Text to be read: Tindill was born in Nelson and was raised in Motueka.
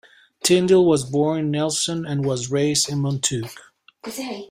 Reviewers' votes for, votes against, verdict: 2, 0, accepted